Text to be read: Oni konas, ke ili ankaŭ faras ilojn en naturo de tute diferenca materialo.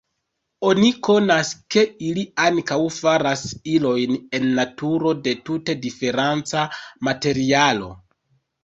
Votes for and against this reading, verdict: 1, 2, rejected